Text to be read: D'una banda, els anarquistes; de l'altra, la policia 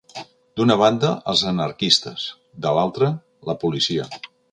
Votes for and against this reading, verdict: 2, 0, accepted